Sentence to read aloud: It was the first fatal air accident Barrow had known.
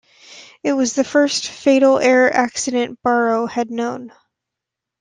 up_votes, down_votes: 2, 0